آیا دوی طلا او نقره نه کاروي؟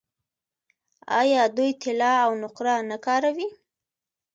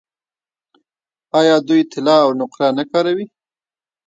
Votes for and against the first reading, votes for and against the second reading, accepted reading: 2, 0, 1, 2, first